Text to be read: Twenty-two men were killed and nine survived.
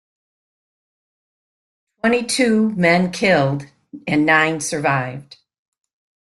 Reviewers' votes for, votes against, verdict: 0, 2, rejected